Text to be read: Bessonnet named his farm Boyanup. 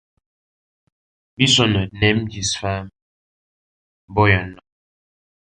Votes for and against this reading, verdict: 1, 2, rejected